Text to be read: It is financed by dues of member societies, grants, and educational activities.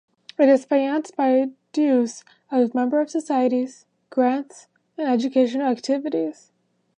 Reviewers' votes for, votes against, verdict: 0, 2, rejected